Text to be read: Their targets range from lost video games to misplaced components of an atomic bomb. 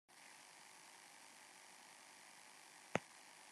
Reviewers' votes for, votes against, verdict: 0, 2, rejected